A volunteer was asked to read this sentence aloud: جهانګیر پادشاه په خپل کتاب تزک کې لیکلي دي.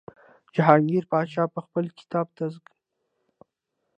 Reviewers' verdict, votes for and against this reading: rejected, 0, 2